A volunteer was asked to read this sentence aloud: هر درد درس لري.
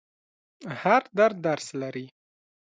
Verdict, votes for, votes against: accepted, 2, 0